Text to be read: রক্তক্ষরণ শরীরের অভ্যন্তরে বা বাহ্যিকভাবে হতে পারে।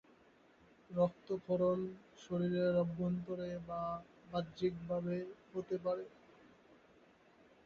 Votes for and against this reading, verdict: 2, 4, rejected